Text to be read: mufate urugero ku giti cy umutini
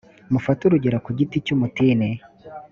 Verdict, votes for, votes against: accepted, 2, 0